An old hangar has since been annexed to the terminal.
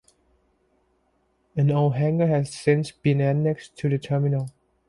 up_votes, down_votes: 2, 0